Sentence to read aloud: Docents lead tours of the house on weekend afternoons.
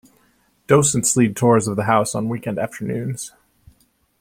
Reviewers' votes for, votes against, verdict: 2, 0, accepted